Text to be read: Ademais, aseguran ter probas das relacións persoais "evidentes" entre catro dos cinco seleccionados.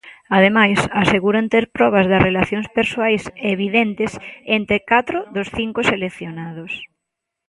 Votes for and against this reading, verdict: 2, 0, accepted